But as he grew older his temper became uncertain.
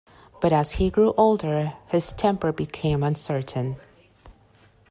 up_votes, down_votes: 2, 0